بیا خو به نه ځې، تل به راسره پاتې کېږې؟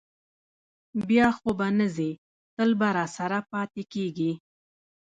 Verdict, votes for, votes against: accepted, 2, 0